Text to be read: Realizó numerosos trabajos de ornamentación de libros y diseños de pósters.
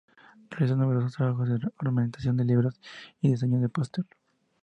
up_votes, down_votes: 0, 2